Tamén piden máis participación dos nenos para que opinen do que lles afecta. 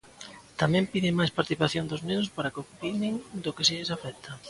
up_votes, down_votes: 0, 2